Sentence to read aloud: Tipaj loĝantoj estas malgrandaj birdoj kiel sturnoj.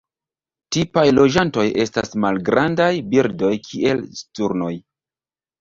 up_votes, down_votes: 2, 0